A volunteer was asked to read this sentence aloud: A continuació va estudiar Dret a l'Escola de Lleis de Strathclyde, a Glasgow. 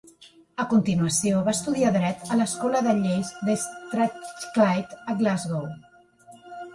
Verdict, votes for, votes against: rejected, 0, 2